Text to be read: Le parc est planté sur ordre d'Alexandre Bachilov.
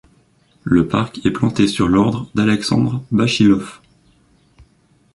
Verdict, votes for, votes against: rejected, 0, 2